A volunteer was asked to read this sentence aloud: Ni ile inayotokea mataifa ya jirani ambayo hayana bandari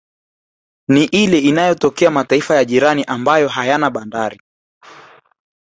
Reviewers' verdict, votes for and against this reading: rejected, 0, 2